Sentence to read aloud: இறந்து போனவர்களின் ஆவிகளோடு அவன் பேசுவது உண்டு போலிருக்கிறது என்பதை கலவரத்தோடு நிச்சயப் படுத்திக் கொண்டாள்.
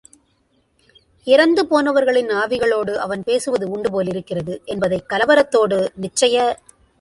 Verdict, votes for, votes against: rejected, 0, 3